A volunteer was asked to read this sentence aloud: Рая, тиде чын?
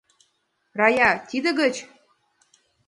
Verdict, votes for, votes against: rejected, 1, 2